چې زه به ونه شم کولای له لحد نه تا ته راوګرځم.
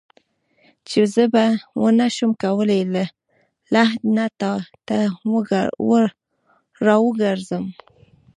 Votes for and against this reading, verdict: 1, 2, rejected